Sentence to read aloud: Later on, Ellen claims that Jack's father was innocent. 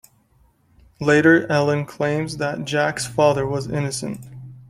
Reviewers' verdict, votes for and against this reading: rejected, 1, 2